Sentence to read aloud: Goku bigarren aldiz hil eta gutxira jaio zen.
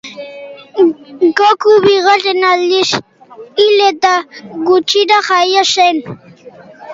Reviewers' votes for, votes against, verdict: 2, 0, accepted